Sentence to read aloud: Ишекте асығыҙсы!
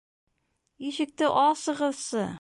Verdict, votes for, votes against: accepted, 2, 0